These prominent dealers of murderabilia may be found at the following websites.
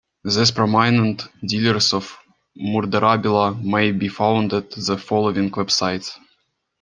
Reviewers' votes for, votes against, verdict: 2, 1, accepted